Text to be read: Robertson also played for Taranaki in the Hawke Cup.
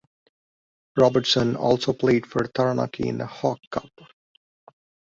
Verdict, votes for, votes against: accepted, 2, 0